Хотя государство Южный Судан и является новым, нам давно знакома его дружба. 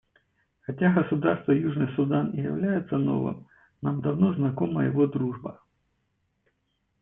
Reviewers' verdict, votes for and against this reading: accepted, 2, 0